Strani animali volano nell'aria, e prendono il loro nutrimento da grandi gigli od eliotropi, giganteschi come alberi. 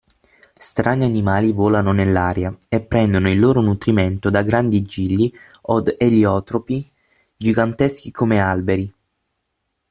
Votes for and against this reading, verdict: 6, 3, accepted